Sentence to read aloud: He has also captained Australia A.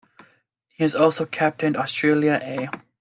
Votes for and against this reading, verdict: 2, 0, accepted